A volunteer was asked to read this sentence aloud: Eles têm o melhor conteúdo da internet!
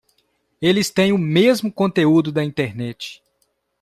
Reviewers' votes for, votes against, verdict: 0, 2, rejected